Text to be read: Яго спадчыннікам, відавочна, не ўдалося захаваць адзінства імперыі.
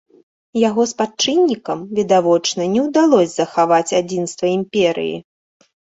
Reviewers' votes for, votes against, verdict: 1, 2, rejected